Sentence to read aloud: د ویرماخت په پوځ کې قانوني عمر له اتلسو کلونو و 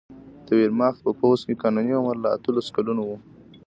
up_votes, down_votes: 2, 0